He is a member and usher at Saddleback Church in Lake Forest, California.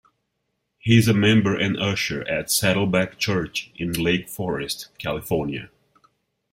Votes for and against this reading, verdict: 2, 0, accepted